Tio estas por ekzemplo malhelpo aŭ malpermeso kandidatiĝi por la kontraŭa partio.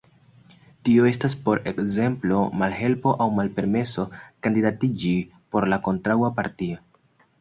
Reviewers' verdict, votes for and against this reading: accepted, 2, 0